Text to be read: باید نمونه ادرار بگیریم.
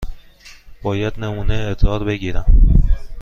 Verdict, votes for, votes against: rejected, 1, 2